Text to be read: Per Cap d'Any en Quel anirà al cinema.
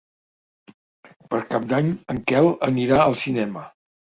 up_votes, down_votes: 3, 0